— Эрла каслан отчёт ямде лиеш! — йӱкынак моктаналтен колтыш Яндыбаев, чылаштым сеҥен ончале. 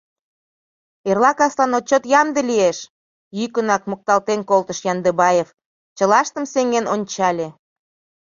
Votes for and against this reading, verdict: 0, 2, rejected